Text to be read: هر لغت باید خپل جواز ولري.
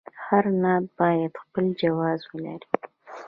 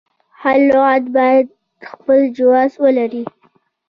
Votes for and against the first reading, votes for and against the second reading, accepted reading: 1, 2, 2, 0, second